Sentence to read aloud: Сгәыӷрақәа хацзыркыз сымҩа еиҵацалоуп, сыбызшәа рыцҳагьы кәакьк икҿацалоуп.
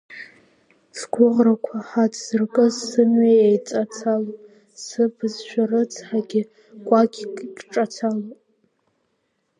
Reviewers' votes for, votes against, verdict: 1, 2, rejected